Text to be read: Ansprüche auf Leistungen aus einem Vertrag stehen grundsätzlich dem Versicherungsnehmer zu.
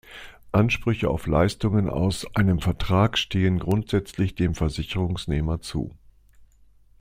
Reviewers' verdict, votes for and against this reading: accepted, 2, 0